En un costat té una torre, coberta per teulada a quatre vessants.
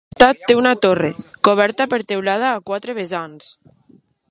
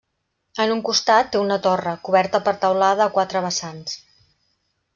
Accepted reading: second